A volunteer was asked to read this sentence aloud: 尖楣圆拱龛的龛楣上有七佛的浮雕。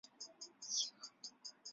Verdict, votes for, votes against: rejected, 0, 2